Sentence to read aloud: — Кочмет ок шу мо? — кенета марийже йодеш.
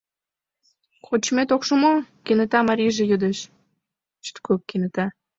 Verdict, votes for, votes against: rejected, 1, 2